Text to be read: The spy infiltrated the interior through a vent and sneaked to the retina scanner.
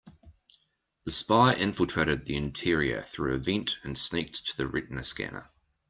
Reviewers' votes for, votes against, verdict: 2, 0, accepted